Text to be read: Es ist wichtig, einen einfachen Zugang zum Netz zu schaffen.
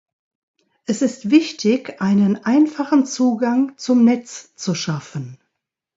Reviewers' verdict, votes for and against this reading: accepted, 2, 0